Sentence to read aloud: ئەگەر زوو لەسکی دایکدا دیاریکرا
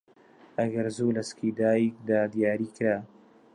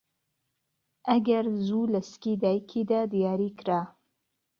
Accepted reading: first